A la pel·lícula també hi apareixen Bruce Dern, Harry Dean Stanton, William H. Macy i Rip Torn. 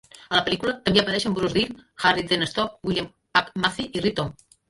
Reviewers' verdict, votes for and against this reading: rejected, 0, 2